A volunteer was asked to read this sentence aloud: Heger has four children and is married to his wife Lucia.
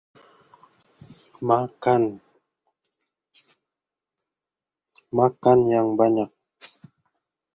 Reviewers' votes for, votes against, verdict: 0, 2, rejected